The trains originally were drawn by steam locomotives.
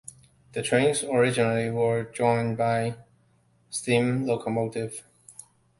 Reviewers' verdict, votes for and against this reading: accepted, 2, 0